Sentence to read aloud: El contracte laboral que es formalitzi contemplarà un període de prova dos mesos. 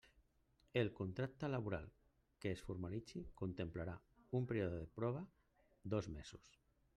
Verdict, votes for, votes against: rejected, 0, 2